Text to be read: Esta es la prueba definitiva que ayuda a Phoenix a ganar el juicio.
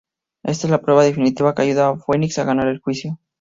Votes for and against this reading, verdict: 0, 2, rejected